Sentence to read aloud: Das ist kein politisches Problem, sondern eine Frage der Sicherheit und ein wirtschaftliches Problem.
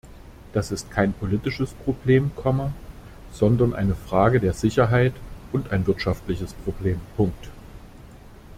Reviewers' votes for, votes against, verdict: 0, 2, rejected